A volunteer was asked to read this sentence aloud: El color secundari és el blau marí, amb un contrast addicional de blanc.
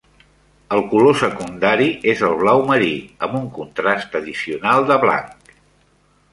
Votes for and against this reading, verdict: 3, 0, accepted